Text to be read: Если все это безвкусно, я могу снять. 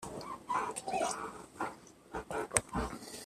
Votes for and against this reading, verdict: 0, 2, rejected